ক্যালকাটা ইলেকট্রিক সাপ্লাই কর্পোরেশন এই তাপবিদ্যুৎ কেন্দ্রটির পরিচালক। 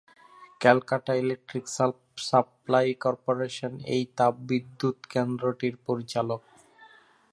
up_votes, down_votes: 0, 2